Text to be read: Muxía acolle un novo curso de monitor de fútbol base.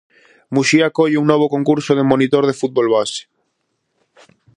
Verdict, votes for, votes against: rejected, 0, 4